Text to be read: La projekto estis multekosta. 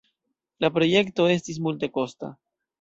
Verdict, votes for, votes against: accepted, 2, 0